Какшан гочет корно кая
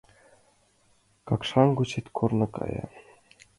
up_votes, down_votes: 2, 0